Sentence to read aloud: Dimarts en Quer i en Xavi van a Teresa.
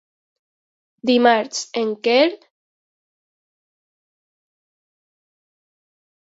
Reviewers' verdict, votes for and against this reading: rejected, 0, 2